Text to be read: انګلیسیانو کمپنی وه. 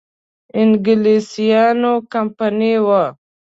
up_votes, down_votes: 2, 0